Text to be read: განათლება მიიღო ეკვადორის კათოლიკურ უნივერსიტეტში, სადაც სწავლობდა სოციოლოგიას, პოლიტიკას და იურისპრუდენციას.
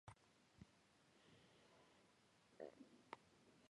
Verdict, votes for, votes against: rejected, 0, 2